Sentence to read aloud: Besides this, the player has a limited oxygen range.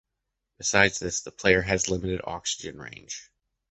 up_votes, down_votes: 0, 2